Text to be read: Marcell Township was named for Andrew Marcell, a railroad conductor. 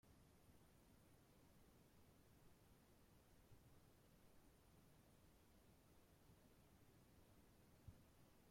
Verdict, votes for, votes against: rejected, 0, 4